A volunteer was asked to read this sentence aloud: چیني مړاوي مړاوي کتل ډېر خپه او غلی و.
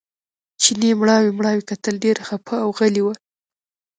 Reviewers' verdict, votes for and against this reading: rejected, 0, 2